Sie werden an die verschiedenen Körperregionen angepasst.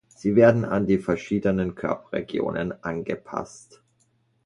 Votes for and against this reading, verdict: 1, 2, rejected